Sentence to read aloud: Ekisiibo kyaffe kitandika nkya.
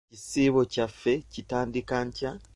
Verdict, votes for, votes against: accepted, 2, 0